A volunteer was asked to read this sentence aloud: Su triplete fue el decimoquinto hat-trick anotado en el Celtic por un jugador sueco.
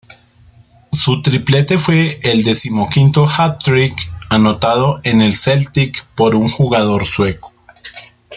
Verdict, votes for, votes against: accepted, 2, 0